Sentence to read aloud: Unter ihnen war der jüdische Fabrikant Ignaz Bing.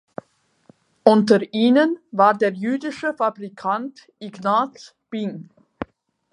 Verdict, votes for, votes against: accepted, 4, 0